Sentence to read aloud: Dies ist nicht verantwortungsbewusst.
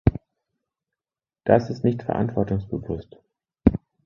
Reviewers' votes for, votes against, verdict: 0, 2, rejected